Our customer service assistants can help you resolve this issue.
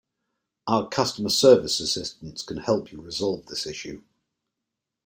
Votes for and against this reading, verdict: 2, 0, accepted